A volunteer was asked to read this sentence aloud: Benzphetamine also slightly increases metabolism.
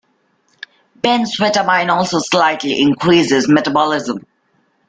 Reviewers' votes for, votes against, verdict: 2, 1, accepted